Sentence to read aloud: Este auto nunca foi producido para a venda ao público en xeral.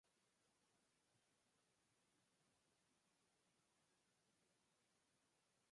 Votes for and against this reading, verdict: 0, 4, rejected